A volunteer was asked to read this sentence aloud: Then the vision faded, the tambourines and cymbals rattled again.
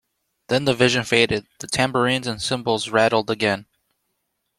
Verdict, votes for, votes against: accepted, 2, 0